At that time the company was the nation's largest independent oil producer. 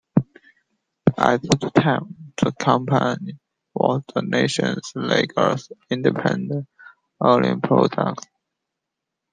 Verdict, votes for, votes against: rejected, 0, 2